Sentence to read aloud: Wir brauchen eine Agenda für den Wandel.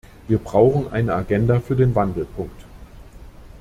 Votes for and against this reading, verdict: 0, 2, rejected